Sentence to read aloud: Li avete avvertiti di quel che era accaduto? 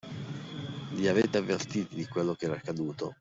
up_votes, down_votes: 1, 2